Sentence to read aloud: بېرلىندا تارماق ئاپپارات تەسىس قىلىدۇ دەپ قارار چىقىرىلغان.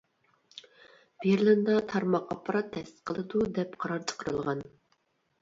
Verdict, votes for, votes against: rejected, 0, 2